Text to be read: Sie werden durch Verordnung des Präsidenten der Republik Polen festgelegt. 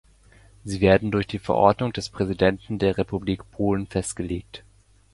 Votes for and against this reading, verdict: 2, 0, accepted